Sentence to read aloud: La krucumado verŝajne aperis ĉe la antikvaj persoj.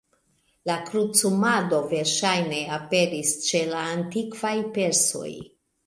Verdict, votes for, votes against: accepted, 2, 1